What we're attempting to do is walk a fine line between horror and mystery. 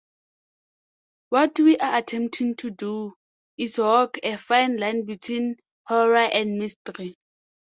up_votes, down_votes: 1, 2